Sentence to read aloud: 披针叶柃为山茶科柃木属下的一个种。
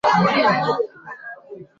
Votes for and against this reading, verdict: 0, 2, rejected